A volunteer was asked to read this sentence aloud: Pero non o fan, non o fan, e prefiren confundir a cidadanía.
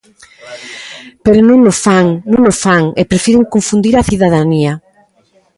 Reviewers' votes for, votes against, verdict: 2, 0, accepted